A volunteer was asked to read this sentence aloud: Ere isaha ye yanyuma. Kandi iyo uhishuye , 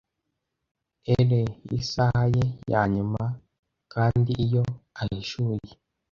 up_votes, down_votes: 0, 2